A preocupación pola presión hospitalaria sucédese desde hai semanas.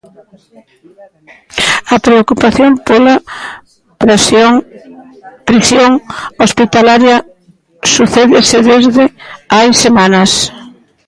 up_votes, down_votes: 0, 2